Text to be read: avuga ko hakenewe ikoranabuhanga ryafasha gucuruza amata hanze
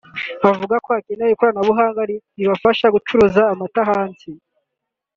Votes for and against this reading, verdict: 5, 6, rejected